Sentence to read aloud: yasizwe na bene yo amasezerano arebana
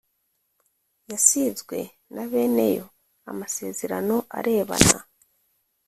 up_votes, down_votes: 2, 0